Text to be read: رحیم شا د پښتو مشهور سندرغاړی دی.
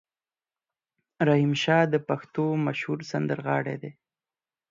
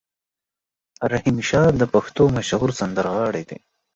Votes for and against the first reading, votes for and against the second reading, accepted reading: 4, 0, 1, 2, first